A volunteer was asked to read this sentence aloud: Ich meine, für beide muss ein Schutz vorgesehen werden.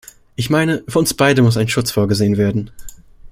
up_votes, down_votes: 0, 2